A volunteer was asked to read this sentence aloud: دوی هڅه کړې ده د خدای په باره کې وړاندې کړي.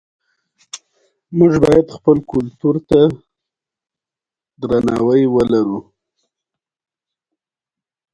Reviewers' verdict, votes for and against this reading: accepted, 2, 1